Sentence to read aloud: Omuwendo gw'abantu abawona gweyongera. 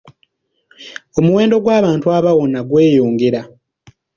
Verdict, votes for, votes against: accepted, 2, 0